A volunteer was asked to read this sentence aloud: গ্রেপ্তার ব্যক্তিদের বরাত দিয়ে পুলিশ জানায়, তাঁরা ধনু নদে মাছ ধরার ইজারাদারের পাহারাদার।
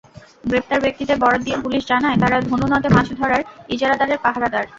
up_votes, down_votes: 0, 2